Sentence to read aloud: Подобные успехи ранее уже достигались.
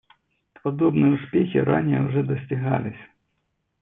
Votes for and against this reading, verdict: 0, 2, rejected